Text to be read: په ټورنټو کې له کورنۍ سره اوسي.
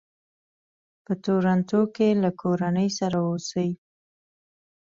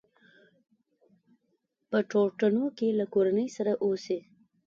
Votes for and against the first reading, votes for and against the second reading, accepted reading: 2, 0, 1, 2, first